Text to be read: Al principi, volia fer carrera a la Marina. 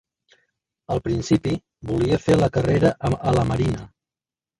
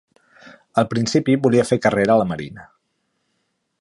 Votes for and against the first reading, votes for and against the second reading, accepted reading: 0, 2, 3, 0, second